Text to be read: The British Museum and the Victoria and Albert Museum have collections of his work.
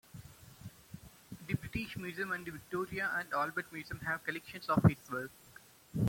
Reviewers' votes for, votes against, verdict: 2, 0, accepted